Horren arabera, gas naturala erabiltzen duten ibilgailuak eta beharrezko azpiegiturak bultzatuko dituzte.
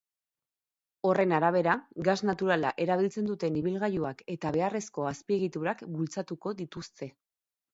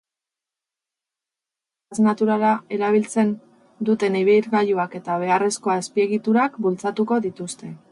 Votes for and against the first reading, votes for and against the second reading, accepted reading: 4, 0, 0, 4, first